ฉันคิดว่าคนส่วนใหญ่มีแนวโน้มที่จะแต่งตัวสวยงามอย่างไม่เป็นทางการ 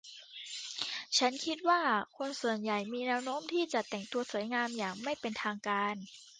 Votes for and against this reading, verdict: 2, 0, accepted